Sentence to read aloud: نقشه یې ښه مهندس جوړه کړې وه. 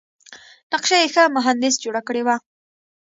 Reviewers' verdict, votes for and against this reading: accepted, 2, 0